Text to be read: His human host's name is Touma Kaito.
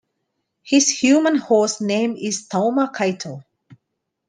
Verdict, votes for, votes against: rejected, 0, 2